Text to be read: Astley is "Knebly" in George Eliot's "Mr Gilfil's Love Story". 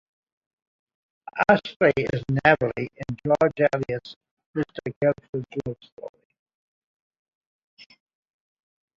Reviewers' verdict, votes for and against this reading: rejected, 0, 2